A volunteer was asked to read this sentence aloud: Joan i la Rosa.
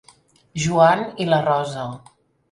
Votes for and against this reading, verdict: 3, 0, accepted